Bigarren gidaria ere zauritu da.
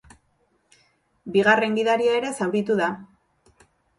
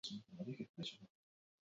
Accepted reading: first